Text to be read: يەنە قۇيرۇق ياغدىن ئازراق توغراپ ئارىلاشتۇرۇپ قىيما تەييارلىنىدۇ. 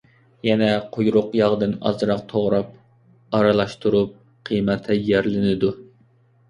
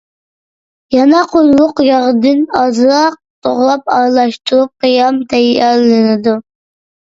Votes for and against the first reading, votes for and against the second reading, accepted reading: 2, 0, 1, 2, first